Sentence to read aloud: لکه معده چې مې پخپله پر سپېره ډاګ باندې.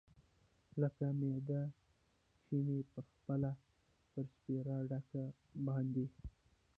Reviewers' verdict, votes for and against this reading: rejected, 0, 2